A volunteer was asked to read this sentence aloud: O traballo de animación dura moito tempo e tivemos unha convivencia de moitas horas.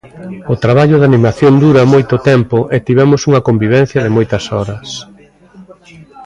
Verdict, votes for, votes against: accepted, 2, 0